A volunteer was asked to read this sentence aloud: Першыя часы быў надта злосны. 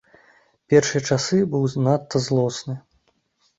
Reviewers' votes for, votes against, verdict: 1, 2, rejected